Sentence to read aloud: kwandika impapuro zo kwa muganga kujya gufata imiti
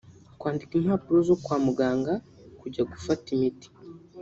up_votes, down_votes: 0, 2